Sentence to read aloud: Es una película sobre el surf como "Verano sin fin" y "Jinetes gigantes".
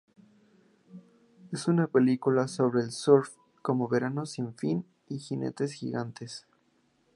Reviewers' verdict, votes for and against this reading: accepted, 2, 0